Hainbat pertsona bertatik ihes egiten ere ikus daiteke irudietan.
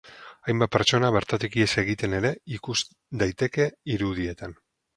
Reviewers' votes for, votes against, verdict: 4, 0, accepted